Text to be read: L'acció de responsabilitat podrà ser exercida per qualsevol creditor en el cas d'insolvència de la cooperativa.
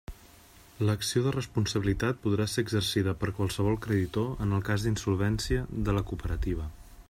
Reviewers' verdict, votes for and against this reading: accepted, 3, 0